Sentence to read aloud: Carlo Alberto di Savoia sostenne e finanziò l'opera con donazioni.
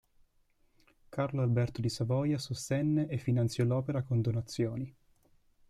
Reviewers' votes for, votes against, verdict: 2, 0, accepted